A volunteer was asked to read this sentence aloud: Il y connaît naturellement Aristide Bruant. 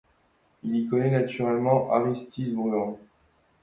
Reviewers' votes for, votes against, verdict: 2, 1, accepted